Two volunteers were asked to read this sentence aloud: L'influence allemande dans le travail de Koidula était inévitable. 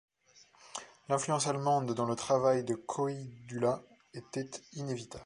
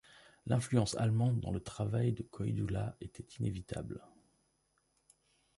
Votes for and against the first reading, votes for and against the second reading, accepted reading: 1, 2, 2, 0, second